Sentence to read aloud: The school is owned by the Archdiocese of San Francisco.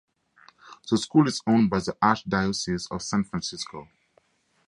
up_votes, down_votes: 2, 0